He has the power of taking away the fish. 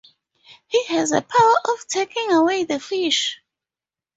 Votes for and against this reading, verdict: 0, 2, rejected